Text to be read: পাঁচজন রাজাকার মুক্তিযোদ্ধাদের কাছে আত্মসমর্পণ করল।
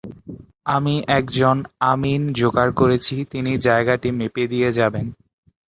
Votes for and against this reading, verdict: 0, 3, rejected